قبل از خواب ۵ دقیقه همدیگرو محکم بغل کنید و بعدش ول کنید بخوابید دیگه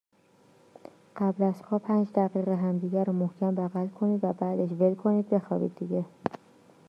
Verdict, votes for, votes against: rejected, 0, 2